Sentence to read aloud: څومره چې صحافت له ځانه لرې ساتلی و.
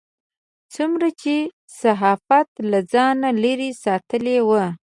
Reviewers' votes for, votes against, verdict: 2, 1, accepted